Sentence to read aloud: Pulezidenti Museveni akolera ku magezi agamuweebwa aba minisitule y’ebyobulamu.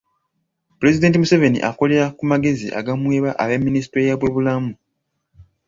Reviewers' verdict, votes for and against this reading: accepted, 3, 1